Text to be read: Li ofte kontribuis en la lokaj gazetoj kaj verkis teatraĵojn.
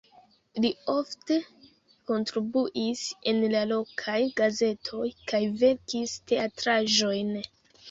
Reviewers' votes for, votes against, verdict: 2, 1, accepted